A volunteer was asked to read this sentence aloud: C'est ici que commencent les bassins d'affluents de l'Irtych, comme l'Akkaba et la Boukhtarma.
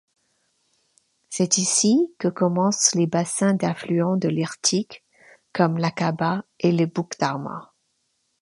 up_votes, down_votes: 1, 2